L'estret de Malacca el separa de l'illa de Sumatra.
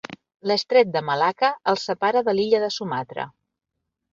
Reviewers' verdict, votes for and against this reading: accepted, 4, 0